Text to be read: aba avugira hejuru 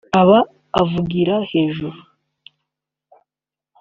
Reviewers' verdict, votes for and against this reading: accepted, 2, 1